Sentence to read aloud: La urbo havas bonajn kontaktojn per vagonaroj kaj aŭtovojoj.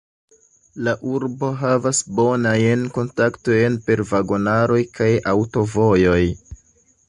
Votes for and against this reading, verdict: 2, 0, accepted